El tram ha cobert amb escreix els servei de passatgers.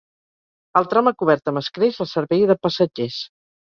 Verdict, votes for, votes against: accepted, 6, 0